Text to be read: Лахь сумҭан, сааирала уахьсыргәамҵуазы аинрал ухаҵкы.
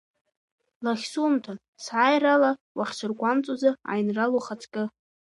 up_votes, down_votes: 1, 2